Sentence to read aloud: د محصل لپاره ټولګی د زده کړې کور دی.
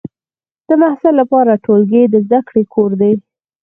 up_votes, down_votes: 0, 4